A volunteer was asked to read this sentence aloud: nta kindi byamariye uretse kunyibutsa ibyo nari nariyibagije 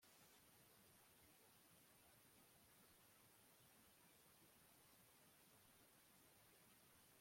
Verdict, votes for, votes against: rejected, 1, 2